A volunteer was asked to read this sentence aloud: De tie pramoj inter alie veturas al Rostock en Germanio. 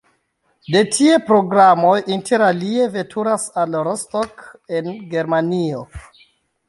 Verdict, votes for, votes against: rejected, 0, 2